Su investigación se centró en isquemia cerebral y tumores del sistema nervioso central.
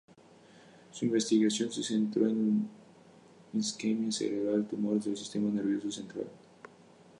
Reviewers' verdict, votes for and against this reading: rejected, 0, 2